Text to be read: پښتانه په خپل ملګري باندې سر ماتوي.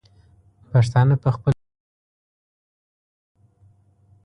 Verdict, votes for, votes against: rejected, 0, 2